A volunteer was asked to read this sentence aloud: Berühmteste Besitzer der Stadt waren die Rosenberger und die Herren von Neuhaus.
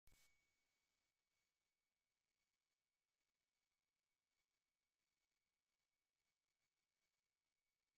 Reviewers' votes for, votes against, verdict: 0, 2, rejected